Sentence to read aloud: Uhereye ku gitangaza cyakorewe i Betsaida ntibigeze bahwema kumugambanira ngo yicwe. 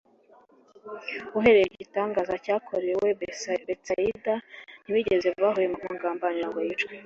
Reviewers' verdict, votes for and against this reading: rejected, 0, 2